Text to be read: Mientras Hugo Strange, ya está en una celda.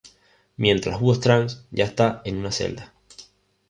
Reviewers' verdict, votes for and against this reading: accepted, 2, 0